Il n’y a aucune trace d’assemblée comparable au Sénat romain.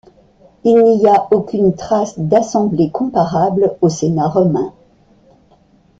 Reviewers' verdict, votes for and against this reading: accepted, 2, 0